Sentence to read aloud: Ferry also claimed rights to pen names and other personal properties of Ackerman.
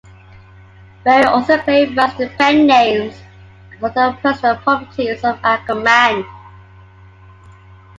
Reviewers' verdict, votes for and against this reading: rejected, 0, 2